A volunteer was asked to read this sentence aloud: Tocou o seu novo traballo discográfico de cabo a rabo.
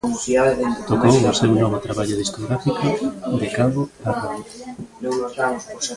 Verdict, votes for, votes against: rejected, 0, 2